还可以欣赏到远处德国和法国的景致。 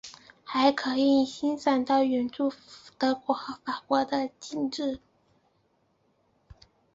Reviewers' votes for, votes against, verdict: 6, 0, accepted